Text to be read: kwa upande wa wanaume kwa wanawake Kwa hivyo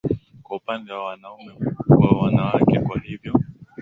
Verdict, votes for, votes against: accepted, 16, 8